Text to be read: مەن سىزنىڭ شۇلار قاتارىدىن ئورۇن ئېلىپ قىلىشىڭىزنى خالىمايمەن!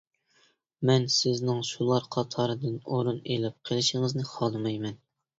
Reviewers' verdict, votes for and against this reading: accepted, 2, 0